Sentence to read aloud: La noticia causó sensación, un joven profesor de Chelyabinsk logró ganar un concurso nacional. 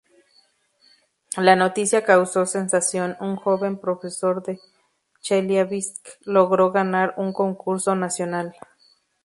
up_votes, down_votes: 0, 2